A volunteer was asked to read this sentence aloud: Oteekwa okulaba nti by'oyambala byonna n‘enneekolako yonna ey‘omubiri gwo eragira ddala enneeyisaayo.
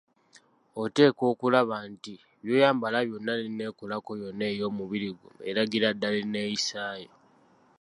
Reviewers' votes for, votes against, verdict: 2, 0, accepted